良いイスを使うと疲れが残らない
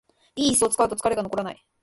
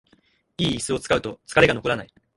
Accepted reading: first